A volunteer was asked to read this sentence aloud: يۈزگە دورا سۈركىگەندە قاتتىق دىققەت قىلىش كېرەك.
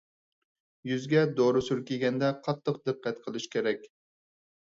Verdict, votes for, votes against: accepted, 4, 0